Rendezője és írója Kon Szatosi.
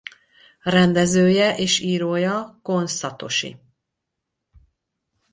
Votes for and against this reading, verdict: 4, 0, accepted